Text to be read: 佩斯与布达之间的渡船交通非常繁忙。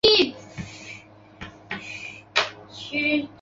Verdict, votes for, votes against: rejected, 1, 2